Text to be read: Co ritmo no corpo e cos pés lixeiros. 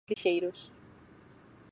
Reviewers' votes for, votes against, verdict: 0, 4, rejected